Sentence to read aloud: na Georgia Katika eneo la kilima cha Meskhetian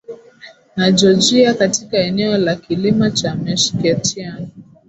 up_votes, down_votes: 5, 0